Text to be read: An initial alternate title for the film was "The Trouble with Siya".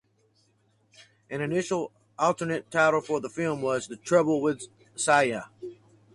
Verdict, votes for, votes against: accepted, 4, 0